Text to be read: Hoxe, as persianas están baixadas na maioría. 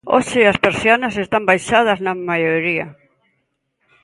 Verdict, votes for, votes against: accepted, 2, 0